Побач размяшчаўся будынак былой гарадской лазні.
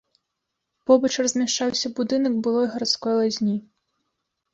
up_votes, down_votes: 1, 2